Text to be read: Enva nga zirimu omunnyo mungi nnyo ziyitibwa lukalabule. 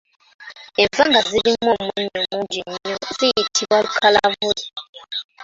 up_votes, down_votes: 0, 2